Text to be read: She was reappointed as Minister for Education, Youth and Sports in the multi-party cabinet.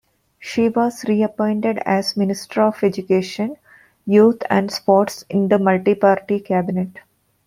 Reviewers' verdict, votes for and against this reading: rejected, 1, 2